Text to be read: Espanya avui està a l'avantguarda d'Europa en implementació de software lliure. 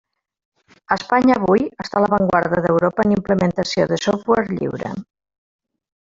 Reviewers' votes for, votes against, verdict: 0, 2, rejected